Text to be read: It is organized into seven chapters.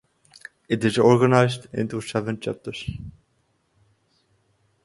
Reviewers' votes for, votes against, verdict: 2, 0, accepted